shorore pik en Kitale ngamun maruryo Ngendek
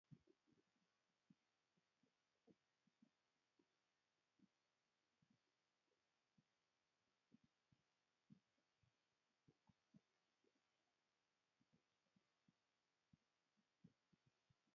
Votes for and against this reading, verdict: 1, 2, rejected